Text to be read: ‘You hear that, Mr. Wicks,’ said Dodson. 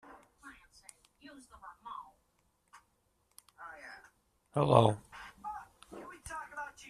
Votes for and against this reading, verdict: 0, 2, rejected